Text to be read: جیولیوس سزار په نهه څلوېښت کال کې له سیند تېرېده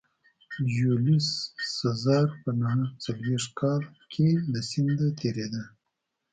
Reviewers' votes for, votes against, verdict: 0, 2, rejected